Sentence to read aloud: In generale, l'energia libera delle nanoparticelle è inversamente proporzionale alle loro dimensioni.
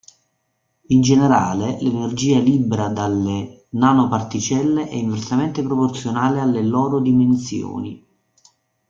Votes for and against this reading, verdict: 2, 3, rejected